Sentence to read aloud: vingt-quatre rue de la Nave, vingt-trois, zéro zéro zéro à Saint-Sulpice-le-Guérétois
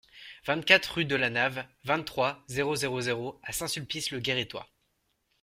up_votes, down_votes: 2, 0